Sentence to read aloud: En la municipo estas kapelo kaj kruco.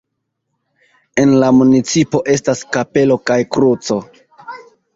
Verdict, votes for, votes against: accepted, 2, 1